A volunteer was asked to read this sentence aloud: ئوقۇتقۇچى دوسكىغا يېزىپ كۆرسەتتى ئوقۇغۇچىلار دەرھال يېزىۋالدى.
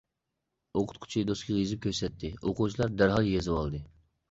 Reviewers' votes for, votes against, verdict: 2, 1, accepted